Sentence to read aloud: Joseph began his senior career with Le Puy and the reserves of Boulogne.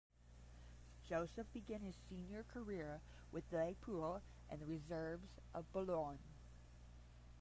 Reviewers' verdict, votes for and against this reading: rejected, 0, 10